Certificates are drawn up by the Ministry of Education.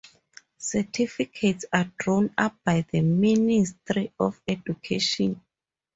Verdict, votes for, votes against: rejected, 0, 4